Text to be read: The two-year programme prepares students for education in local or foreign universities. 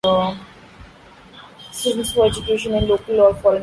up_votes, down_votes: 0, 2